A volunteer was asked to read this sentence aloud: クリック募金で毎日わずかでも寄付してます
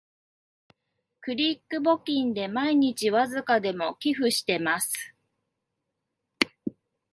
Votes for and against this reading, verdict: 2, 0, accepted